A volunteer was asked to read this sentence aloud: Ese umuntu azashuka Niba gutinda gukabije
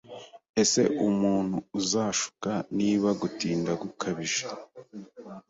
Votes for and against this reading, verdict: 0, 2, rejected